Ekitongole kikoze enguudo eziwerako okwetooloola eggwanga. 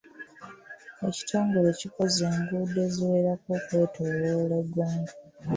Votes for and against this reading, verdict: 2, 0, accepted